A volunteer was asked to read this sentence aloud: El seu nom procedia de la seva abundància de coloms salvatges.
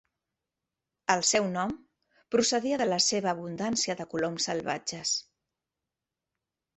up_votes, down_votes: 4, 1